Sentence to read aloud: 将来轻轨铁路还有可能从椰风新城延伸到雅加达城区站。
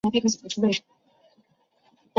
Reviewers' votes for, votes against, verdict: 3, 5, rejected